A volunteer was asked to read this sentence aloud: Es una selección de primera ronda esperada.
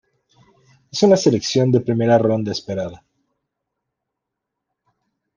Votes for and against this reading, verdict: 2, 0, accepted